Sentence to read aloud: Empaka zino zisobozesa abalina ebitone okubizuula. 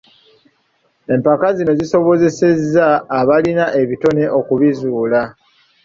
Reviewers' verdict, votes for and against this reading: accepted, 2, 0